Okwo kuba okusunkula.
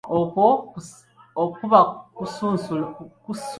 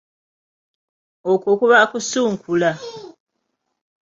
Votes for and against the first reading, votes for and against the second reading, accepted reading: 0, 2, 2, 1, second